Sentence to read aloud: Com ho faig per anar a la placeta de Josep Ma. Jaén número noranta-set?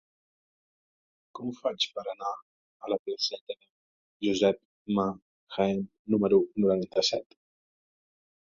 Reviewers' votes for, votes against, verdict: 1, 2, rejected